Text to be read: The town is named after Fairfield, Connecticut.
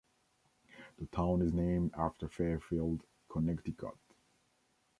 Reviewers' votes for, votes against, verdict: 2, 1, accepted